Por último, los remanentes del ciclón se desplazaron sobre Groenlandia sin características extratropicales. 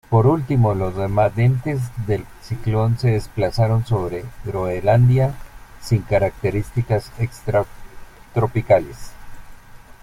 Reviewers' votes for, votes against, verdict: 2, 1, accepted